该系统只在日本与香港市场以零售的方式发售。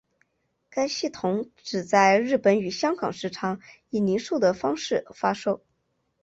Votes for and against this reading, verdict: 2, 0, accepted